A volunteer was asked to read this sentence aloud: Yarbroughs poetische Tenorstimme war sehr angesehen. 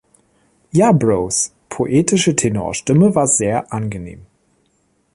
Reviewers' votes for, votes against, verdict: 0, 2, rejected